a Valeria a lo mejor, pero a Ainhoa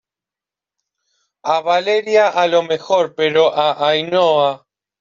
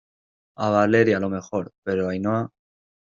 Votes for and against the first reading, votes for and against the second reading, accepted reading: 2, 0, 1, 2, first